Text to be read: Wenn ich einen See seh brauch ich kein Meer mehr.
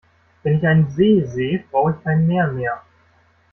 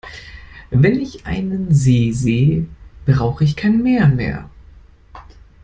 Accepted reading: first